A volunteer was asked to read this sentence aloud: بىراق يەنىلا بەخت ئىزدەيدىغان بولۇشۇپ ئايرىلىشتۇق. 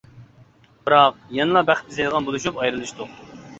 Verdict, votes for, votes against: accepted, 2, 0